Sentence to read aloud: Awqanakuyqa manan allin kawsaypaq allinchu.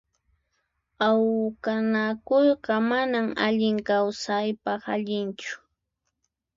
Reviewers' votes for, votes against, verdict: 0, 4, rejected